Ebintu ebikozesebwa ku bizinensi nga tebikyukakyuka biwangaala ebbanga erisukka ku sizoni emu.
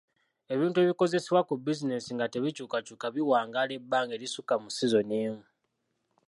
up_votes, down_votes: 1, 2